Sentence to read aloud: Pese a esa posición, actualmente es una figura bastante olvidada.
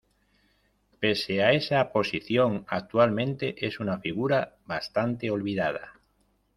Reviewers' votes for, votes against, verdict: 2, 0, accepted